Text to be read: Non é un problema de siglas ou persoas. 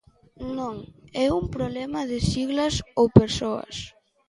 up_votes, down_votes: 2, 0